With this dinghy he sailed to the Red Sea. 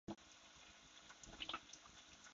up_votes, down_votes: 0, 4